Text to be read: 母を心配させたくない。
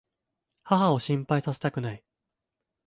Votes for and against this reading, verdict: 2, 1, accepted